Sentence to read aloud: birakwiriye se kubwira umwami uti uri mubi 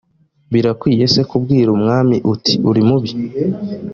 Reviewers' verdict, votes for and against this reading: accepted, 2, 0